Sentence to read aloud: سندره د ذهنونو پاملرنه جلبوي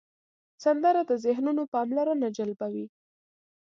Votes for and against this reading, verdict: 2, 0, accepted